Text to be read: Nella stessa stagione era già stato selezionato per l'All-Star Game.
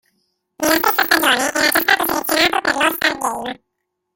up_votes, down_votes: 0, 2